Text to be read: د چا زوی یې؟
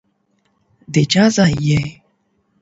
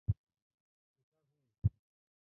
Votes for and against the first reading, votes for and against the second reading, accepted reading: 8, 0, 0, 2, first